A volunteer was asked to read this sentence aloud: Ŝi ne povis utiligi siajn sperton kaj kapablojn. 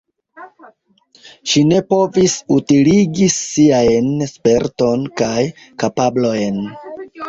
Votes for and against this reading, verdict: 2, 0, accepted